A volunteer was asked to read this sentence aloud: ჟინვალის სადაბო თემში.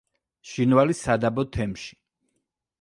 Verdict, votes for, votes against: accepted, 2, 0